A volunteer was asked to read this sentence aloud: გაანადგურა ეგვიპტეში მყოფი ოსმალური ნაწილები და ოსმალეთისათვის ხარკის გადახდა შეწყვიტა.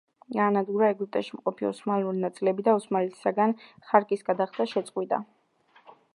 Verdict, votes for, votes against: rejected, 1, 2